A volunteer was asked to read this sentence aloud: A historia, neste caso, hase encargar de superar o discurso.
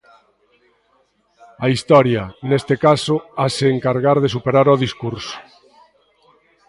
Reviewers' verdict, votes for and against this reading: accepted, 2, 1